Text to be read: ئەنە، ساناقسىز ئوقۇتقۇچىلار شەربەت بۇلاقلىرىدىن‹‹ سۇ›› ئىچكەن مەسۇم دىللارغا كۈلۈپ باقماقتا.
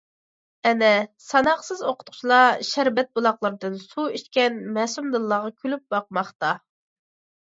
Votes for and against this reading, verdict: 2, 0, accepted